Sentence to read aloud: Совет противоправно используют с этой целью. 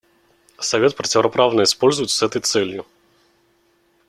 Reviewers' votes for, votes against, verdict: 0, 2, rejected